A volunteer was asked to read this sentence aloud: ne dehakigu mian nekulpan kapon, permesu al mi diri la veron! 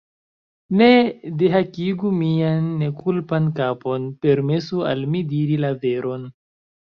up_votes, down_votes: 1, 2